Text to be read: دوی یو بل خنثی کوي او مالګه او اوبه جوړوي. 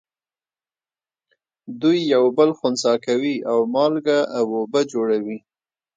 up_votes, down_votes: 1, 2